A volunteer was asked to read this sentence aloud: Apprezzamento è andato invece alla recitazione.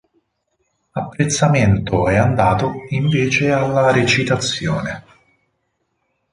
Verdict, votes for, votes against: accepted, 4, 0